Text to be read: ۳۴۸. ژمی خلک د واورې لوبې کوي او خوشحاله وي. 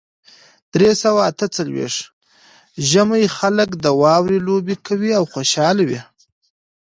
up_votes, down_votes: 0, 2